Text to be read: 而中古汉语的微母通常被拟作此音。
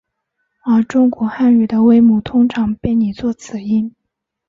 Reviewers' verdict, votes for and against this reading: accepted, 2, 0